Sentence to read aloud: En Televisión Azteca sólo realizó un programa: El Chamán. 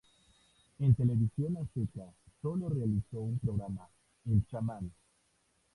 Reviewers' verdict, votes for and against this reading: rejected, 0, 2